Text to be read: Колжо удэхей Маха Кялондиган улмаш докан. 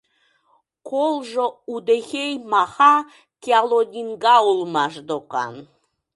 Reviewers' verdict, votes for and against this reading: rejected, 0, 2